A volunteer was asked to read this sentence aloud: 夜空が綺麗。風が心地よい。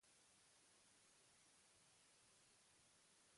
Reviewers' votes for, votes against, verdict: 1, 2, rejected